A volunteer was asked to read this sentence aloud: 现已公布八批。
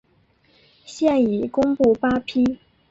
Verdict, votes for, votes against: accepted, 2, 0